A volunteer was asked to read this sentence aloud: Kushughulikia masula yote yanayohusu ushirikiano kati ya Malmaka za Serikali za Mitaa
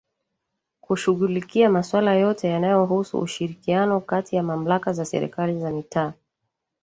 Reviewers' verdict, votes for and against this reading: rejected, 1, 2